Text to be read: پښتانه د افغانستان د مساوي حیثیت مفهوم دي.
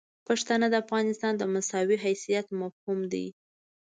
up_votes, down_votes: 2, 0